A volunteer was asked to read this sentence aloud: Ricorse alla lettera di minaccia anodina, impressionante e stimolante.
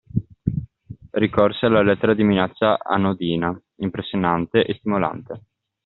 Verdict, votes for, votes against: accepted, 2, 0